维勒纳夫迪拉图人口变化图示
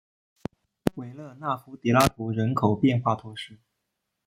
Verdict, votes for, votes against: rejected, 0, 2